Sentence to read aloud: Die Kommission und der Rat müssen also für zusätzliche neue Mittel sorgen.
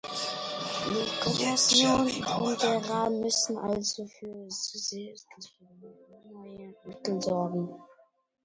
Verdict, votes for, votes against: rejected, 0, 2